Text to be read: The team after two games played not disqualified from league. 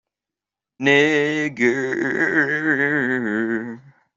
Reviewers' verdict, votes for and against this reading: rejected, 0, 2